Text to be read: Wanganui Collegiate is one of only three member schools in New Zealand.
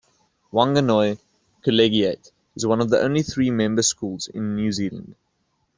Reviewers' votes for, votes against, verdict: 2, 1, accepted